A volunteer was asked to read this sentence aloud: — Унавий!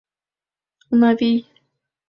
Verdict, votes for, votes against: accepted, 2, 0